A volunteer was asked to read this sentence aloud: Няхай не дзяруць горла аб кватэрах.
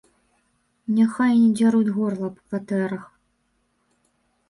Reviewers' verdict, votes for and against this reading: accepted, 2, 0